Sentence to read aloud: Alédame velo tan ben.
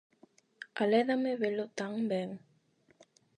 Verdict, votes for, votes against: accepted, 8, 0